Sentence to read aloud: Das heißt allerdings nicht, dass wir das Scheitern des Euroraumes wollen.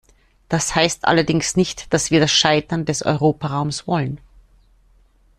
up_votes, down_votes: 0, 2